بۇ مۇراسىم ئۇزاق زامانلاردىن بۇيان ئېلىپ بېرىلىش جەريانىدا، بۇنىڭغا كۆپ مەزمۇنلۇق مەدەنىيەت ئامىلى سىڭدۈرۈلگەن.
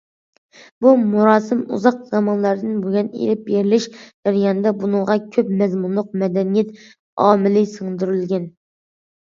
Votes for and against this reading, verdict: 2, 0, accepted